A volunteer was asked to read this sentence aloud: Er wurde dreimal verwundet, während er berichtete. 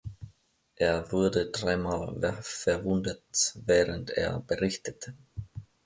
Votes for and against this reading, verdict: 0, 2, rejected